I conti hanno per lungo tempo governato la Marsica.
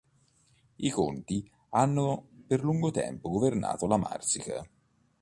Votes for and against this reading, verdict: 2, 0, accepted